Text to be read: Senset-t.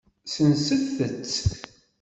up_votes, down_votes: 2, 0